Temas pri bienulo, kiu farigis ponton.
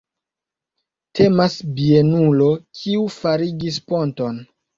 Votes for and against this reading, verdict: 1, 2, rejected